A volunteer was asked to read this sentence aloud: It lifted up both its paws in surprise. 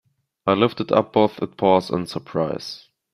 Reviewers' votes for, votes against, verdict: 1, 2, rejected